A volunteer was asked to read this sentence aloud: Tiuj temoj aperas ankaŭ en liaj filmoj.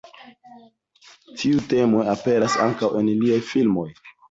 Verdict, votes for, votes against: accepted, 2, 1